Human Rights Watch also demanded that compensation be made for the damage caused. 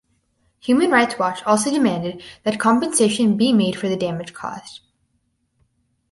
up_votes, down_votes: 4, 0